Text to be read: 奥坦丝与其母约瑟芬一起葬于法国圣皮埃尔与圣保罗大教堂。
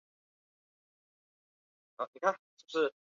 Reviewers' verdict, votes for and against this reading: rejected, 1, 2